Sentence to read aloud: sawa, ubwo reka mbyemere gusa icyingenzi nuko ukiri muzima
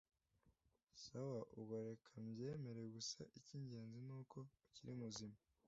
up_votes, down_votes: 0, 2